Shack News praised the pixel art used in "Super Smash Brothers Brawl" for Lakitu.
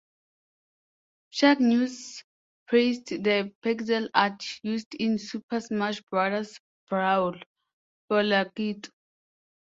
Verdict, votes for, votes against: accepted, 2, 0